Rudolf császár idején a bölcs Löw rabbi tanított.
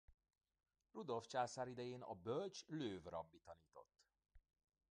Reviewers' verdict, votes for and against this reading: rejected, 0, 2